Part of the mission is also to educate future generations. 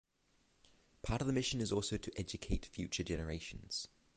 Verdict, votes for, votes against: accepted, 6, 0